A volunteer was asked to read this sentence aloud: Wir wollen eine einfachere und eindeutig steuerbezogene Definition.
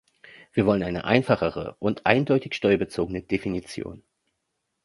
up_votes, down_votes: 2, 0